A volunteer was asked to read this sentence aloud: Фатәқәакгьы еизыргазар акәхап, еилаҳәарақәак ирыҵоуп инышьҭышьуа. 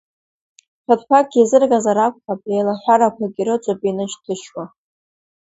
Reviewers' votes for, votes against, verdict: 2, 0, accepted